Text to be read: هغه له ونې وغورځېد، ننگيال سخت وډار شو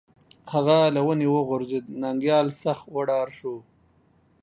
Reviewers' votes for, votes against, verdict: 2, 0, accepted